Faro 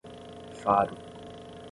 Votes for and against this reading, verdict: 5, 10, rejected